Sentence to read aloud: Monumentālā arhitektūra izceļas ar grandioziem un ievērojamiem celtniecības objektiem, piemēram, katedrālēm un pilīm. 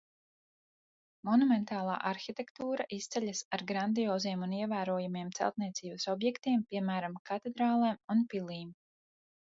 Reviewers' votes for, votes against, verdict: 4, 0, accepted